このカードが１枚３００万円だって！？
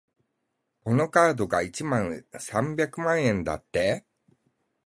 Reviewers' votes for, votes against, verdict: 0, 2, rejected